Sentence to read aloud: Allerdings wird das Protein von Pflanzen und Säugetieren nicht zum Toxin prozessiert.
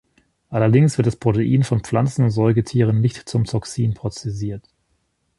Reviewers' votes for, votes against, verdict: 1, 2, rejected